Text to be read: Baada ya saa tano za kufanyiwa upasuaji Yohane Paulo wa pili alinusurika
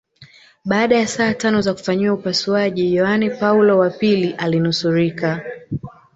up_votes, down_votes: 0, 2